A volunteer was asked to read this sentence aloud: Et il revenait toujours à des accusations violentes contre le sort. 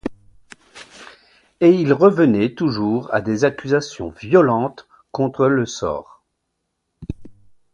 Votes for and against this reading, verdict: 2, 0, accepted